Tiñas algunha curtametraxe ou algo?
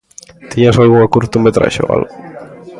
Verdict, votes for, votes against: accepted, 2, 0